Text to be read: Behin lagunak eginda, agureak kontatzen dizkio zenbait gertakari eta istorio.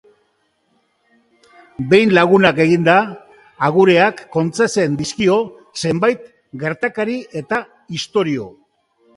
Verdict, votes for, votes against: rejected, 1, 3